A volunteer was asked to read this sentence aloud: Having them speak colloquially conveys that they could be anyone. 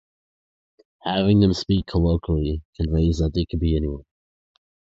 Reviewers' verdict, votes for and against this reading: accepted, 4, 0